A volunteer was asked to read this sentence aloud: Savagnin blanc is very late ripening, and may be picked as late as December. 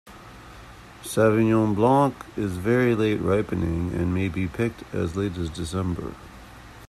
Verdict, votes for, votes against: rejected, 1, 2